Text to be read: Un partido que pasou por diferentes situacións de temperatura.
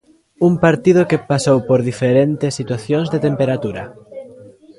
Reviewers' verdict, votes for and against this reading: accepted, 3, 1